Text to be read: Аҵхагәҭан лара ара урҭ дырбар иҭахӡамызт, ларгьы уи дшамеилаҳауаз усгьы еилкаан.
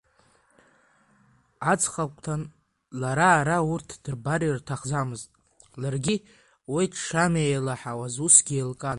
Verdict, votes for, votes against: accepted, 3, 1